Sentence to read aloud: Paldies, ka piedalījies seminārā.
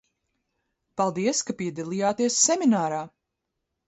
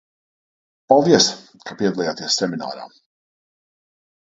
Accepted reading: first